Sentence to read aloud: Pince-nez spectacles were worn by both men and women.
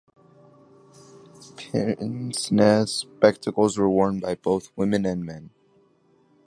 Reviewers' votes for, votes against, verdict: 1, 2, rejected